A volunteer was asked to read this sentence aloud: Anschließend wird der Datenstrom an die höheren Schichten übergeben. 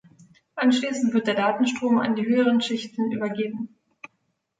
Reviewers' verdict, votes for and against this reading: accepted, 2, 0